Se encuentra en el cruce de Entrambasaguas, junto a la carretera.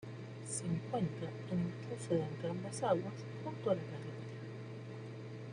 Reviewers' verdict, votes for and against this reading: rejected, 1, 2